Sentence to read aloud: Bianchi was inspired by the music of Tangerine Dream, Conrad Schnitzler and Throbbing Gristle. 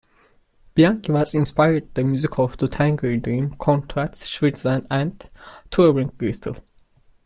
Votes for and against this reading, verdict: 2, 1, accepted